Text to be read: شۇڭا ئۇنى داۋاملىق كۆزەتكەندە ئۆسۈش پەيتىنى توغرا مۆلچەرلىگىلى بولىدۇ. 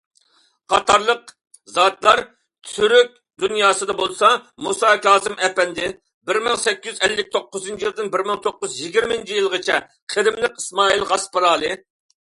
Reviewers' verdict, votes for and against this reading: rejected, 0, 2